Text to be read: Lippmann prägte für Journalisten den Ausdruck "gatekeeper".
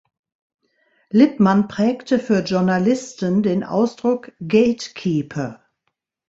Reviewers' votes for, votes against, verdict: 2, 0, accepted